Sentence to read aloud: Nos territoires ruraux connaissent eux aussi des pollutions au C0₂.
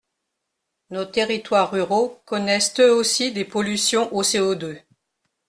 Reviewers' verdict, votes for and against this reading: rejected, 0, 2